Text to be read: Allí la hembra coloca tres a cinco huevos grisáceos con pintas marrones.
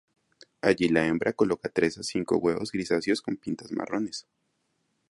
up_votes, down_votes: 2, 0